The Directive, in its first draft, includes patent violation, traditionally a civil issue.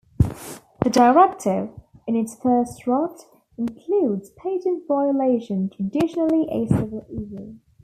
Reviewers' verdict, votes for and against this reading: rejected, 1, 2